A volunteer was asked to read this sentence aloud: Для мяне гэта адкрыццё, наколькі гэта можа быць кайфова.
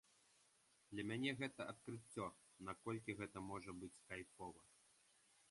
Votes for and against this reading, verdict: 1, 2, rejected